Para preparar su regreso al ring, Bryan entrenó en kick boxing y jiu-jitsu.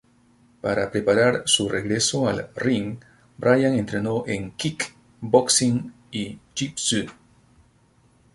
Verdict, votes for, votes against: rejected, 0, 2